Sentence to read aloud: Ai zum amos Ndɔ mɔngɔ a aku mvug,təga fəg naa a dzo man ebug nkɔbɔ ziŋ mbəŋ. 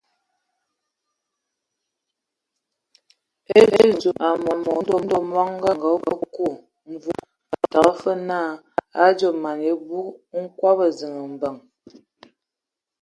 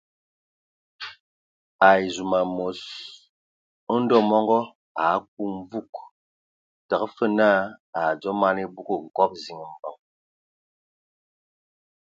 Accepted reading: second